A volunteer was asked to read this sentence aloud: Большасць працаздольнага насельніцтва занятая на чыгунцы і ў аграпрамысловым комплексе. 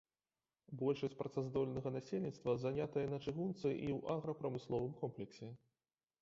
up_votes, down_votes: 2, 0